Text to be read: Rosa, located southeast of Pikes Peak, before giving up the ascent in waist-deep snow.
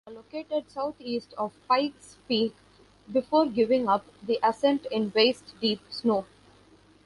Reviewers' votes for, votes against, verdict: 0, 2, rejected